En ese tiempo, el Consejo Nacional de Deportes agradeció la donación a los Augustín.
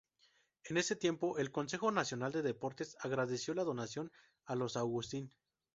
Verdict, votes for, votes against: rejected, 0, 2